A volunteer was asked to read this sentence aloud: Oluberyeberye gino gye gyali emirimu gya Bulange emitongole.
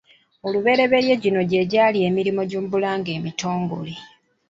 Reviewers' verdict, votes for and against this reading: rejected, 0, 2